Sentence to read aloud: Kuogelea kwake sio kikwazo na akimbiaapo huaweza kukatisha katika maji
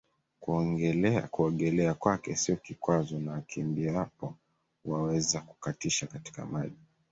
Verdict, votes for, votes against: rejected, 0, 2